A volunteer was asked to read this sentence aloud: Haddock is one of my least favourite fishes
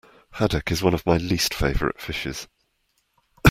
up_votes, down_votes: 2, 0